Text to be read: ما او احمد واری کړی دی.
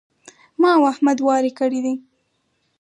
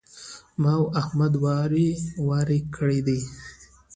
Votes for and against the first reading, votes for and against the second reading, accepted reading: 2, 2, 2, 0, second